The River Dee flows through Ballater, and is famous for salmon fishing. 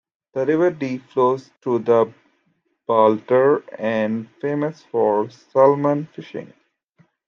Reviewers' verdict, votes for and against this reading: rejected, 0, 2